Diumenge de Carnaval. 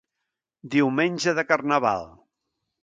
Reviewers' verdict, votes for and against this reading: accepted, 2, 0